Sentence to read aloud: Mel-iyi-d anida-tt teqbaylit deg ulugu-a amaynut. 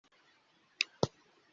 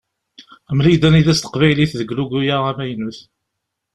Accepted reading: second